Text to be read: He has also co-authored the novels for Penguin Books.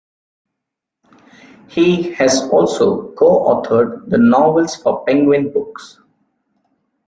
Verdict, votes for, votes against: rejected, 1, 2